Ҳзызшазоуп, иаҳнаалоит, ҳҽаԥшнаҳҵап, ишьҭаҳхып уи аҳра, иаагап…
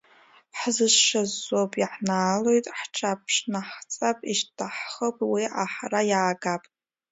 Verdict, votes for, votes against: rejected, 2, 3